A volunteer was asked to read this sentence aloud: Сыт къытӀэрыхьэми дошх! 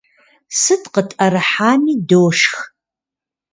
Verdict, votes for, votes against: rejected, 0, 2